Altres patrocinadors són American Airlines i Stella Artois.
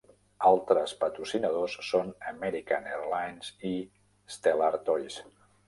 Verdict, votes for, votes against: rejected, 0, 2